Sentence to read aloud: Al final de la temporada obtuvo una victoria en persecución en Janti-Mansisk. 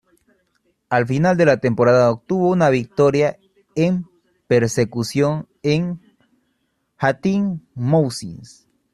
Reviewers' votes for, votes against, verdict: 0, 2, rejected